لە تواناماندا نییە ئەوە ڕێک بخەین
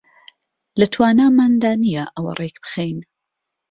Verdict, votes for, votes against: accepted, 3, 0